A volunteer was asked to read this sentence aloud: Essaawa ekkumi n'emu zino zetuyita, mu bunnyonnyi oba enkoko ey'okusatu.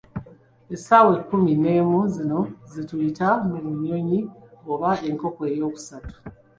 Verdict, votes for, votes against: accepted, 2, 0